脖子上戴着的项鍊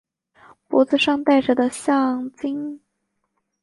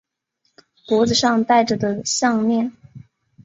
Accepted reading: second